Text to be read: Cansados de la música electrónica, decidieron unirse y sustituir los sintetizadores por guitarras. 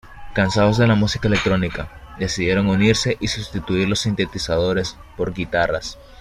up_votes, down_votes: 2, 0